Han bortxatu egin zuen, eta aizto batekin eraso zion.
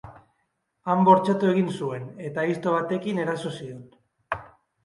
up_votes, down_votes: 3, 0